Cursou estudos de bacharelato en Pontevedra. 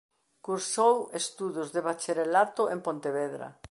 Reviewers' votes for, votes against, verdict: 2, 0, accepted